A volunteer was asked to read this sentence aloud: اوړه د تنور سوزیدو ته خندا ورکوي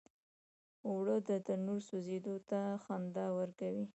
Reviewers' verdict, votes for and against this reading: rejected, 0, 2